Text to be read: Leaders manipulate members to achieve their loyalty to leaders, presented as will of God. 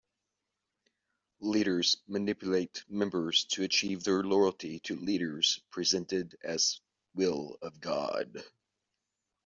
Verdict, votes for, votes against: accepted, 2, 0